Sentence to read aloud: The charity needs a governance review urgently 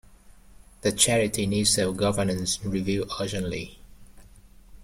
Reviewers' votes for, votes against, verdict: 0, 2, rejected